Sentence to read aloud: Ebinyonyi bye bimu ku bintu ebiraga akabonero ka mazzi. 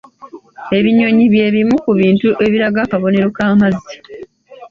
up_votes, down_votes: 2, 0